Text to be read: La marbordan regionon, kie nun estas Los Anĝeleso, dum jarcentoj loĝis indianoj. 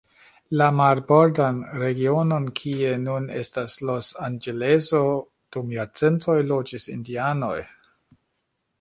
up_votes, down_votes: 2, 0